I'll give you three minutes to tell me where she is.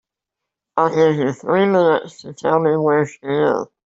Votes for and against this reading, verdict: 1, 2, rejected